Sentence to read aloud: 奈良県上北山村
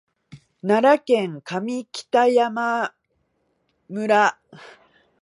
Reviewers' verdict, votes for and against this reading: rejected, 1, 2